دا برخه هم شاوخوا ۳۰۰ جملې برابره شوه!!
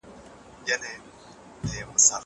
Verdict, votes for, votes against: rejected, 0, 2